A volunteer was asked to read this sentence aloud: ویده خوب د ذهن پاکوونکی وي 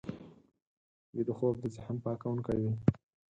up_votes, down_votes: 0, 4